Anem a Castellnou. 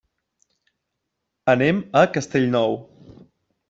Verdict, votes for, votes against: accepted, 3, 0